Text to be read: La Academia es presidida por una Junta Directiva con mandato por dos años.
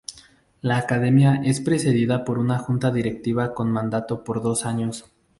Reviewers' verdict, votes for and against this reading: rejected, 0, 2